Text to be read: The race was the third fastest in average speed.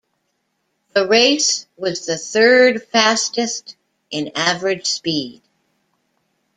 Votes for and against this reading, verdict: 2, 0, accepted